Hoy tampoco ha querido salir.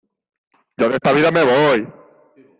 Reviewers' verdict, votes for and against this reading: rejected, 0, 2